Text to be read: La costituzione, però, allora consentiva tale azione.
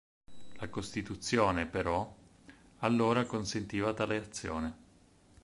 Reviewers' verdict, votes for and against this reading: accepted, 4, 0